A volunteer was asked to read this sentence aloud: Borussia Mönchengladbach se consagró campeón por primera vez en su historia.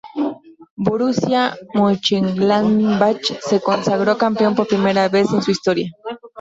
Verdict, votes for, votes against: rejected, 0, 2